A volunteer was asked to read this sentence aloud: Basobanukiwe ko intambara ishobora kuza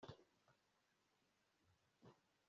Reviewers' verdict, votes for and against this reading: rejected, 1, 2